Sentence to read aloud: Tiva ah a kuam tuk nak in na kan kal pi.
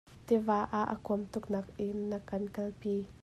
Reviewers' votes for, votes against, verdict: 2, 0, accepted